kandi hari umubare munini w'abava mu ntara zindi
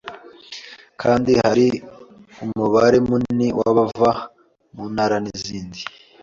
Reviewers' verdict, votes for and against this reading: accepted, 3, 1